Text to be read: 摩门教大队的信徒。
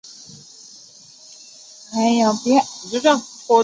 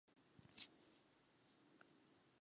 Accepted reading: second